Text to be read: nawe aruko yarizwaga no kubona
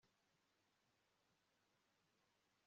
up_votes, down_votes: 0, 2